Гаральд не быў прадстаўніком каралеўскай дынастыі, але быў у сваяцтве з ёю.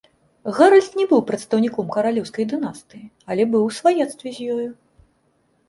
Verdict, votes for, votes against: accepted, 2, 0